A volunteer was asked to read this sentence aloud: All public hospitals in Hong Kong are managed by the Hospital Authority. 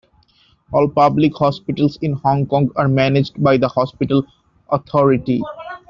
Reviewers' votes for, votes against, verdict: 2, 1, accepted